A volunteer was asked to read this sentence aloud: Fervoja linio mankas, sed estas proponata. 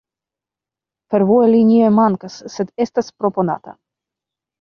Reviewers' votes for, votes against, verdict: 0, 2, rejected